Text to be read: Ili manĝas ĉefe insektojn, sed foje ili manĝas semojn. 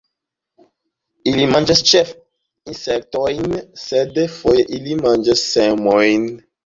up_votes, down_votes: 1, 2